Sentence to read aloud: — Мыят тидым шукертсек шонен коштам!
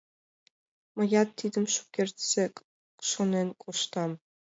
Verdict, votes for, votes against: accepted, 2, 1